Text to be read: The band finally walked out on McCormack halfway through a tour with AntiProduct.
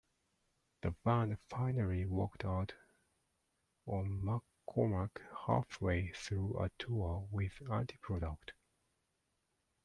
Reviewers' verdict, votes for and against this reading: accepted, 2, 1